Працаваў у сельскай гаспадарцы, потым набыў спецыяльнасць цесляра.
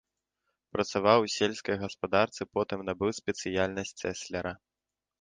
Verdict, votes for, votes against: rejected, 1, 2